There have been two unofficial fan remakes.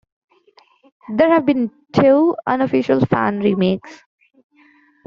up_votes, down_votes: 2, 1